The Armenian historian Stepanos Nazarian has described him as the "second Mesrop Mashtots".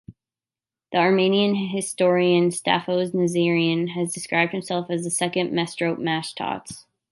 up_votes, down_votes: 1, 2